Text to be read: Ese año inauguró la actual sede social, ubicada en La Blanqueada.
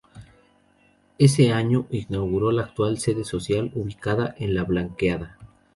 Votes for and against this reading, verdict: 0, 2, rejected